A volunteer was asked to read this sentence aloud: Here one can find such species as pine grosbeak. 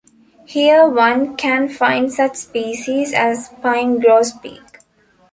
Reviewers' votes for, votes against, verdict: 2, 1, accepted